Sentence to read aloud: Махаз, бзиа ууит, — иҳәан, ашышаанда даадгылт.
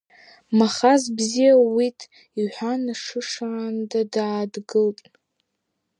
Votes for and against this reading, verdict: 2, 0, accepted